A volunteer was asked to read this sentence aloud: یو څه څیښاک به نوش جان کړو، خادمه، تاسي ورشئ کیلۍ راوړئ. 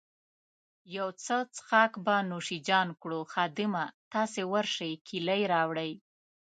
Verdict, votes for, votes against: accepted, 2, 0